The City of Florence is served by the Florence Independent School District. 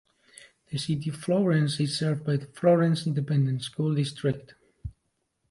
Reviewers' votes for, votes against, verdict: 1, 2, rejected